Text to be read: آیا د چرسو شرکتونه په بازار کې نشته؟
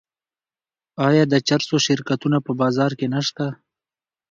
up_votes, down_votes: 2, 1